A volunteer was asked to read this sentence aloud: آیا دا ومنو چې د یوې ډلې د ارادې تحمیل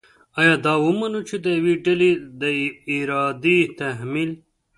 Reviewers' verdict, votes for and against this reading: accepted, 2, 0